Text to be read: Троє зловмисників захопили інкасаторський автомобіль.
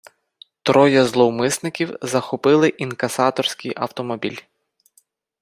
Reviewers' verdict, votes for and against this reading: accepted, 4, 0